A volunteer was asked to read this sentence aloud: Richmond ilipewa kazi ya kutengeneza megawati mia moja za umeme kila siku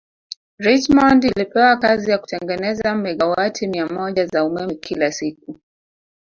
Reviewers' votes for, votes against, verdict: 0, 2, rejected